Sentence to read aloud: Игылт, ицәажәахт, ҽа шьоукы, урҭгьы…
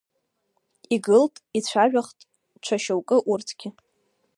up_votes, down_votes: 3, 1